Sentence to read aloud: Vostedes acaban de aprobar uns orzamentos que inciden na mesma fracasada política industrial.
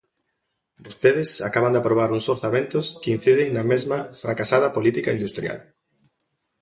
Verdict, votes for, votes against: accepted, 2, 0